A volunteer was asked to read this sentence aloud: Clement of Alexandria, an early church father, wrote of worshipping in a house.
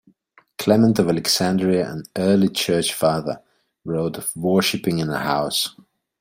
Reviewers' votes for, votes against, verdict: 2, 0, accepted